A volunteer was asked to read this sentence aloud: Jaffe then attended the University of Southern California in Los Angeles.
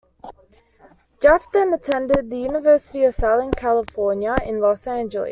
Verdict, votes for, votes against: rejected, 0, 2